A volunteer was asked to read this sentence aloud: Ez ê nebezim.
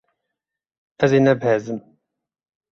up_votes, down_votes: 1, 3